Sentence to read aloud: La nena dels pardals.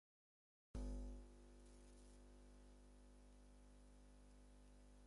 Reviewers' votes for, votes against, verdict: 0, 4, rejected